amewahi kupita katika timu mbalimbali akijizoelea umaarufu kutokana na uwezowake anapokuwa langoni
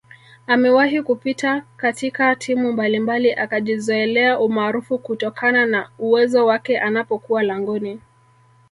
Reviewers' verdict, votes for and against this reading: rejected, 0, 2